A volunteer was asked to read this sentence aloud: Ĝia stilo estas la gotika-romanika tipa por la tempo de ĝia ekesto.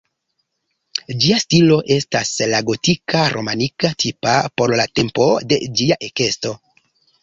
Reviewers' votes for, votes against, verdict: 0, 2, rejected